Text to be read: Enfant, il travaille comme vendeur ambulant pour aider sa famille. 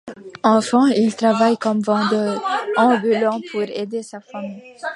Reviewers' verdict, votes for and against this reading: accepted, 2, 1